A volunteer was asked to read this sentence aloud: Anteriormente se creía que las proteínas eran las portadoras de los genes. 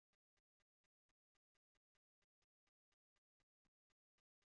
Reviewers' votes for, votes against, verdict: 1, 2, rejected